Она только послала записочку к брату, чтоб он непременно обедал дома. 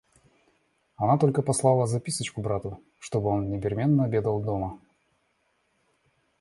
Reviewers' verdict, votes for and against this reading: rejected, 1, 2